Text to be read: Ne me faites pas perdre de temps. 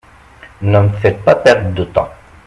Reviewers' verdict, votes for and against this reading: accepted, 2, 0